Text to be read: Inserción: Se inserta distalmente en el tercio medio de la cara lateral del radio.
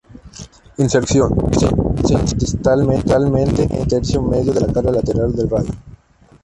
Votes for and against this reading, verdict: 0, 2, rejected